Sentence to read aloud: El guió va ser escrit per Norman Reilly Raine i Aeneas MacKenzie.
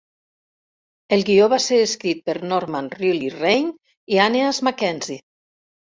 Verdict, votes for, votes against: rejected, 1, 2